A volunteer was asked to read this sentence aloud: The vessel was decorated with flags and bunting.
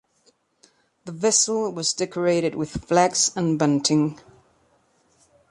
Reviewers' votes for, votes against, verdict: 3, 0, accepted